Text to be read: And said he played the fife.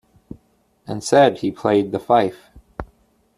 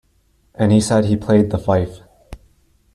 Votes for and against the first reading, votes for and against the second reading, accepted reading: 2, 0, 1, 2, first